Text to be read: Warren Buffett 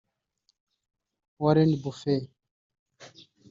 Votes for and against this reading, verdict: 1, 2, rejected